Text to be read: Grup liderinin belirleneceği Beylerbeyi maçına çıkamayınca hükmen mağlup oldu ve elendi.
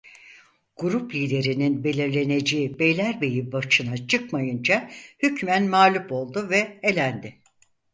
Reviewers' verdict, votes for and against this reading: rejected, 2, 4